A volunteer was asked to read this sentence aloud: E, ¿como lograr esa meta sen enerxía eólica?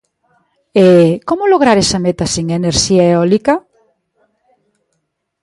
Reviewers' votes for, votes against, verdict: 1, 2, rejected